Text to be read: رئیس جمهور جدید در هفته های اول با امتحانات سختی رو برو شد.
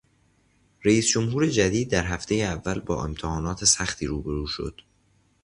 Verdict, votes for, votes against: rejected, 1, 2